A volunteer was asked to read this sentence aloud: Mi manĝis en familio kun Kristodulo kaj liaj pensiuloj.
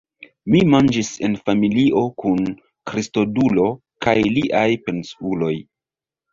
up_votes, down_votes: 0, 2